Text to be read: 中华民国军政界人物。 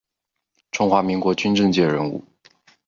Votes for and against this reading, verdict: 3, 0, accepted